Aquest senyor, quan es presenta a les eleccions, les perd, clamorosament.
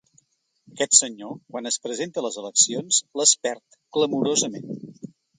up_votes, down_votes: 1, 2